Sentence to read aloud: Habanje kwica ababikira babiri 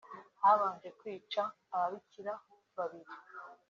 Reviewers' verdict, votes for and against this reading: accepted, 4, 0